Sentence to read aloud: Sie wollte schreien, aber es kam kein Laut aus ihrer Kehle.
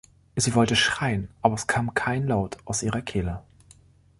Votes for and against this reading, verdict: 2, 0, accepted